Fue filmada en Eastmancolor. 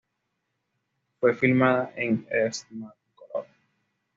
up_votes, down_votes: 1, 2